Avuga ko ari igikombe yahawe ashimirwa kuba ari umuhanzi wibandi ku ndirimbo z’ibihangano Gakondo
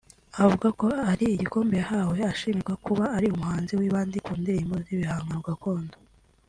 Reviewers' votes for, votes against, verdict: 2, 0, accepted